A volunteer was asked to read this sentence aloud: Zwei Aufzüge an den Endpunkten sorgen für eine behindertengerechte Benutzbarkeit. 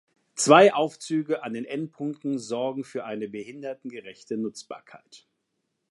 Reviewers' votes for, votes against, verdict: 1, 2, rejected